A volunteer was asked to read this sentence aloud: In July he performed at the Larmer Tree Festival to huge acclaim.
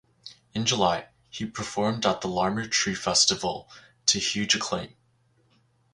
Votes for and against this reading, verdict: 4, 0, accepted